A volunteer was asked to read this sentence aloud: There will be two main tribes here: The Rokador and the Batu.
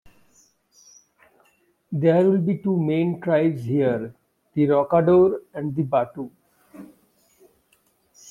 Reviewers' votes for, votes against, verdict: 2, 0, accepted